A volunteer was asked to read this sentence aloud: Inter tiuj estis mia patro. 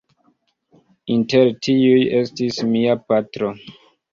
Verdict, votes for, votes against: accepted, 2, 0